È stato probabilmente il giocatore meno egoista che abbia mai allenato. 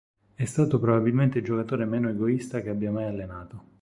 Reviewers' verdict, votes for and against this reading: accepted, 4, 0